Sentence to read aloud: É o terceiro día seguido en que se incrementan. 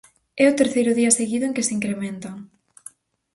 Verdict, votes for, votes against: accepted, 4, 0